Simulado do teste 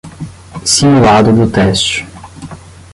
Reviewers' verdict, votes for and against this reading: rejected, 5, 10